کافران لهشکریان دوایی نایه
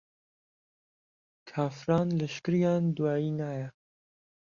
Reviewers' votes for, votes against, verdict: 2, 0, accepted